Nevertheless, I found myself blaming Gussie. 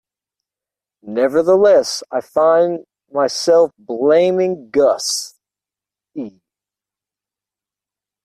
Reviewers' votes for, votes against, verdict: 0, 2, rejected